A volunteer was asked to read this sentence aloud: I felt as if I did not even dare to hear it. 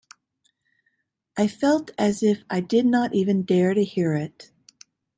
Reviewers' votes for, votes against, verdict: 2, 0, accepted